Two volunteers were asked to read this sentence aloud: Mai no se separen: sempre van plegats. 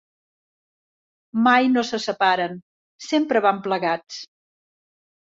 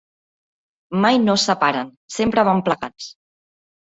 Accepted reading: first